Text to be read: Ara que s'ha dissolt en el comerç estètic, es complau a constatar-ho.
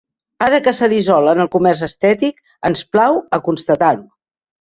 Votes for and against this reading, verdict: 1, 2, rejected